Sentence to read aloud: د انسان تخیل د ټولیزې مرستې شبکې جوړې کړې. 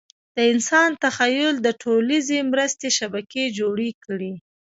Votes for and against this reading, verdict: 2, 0, accepted